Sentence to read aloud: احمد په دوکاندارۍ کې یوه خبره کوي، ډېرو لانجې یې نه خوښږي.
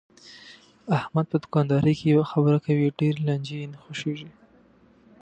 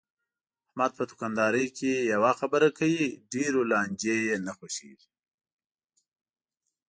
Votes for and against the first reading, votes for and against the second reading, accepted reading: 2, 0, 1, 2, first